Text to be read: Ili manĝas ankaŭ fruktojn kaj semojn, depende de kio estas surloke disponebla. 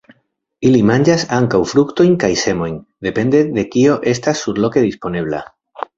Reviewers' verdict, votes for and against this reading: accepted, 2, 0